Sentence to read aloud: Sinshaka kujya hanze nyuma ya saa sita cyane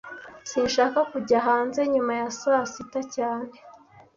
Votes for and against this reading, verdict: 2, 0, accepted